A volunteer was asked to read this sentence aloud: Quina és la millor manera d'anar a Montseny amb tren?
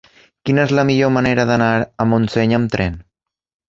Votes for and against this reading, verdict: 3, 0, accepted